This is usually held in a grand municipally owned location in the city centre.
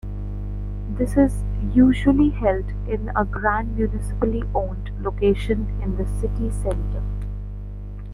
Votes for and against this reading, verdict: 2, 1, accepted